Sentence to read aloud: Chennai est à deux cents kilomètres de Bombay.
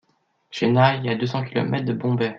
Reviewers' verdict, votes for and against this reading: accepted, 2, 0